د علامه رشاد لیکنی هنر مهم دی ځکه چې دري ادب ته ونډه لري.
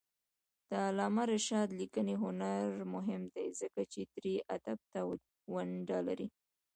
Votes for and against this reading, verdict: 1, 2, rejected